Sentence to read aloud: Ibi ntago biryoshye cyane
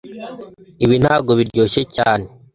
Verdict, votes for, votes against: accepted, 2, 0